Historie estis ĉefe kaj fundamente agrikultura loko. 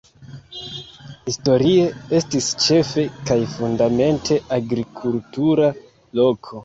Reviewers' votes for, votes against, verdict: 1, 2, rejected